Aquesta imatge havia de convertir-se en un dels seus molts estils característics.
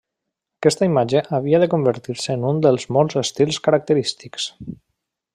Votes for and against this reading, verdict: 0, 2, rejected